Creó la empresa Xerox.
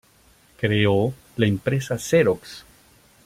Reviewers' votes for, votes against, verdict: 2, 0, accepted